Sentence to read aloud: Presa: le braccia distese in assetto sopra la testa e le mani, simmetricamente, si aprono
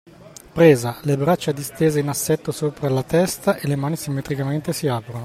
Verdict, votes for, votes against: accepted, 2, 0